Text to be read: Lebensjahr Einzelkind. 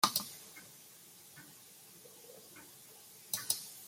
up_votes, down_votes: 0, 2